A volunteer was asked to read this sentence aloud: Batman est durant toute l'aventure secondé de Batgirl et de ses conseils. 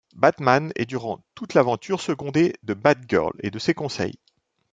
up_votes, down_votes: 2, 0